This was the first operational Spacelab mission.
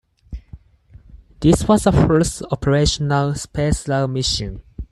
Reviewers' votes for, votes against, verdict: 4, 2, accepted